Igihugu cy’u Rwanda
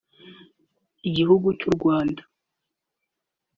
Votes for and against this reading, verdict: 0, 2, rejected